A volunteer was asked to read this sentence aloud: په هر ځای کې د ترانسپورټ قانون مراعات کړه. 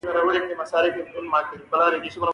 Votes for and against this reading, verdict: 1, 2, rejected